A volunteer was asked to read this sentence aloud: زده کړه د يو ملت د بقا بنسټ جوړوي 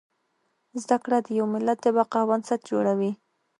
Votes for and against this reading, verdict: 2, 0, accepted